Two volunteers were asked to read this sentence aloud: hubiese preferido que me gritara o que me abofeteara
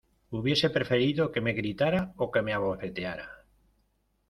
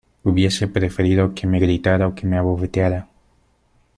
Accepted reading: second